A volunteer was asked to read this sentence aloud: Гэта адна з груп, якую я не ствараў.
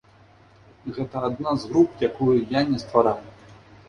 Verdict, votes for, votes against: accepted, 2, 0